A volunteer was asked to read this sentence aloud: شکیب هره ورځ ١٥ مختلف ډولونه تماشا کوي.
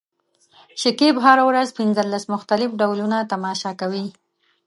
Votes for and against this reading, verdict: 0, 2, rejected